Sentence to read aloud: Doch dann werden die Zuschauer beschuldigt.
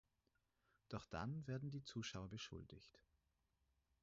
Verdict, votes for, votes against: rejected, 2, 4